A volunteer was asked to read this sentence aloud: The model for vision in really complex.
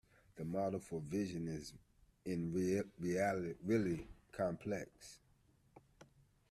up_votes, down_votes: 0, 2